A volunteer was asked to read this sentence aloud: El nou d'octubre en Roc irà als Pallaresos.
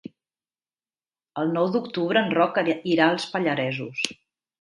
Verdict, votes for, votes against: rejected, 0, 3